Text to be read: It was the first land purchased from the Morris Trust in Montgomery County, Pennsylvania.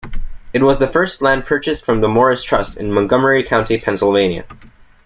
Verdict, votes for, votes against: accepted, 2, 0